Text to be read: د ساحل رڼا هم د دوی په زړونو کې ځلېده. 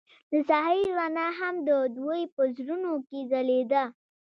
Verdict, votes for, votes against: accepted, 2, 0